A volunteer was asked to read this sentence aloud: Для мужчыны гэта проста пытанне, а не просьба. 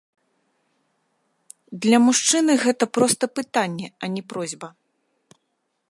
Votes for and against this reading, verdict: 0, 3, rejected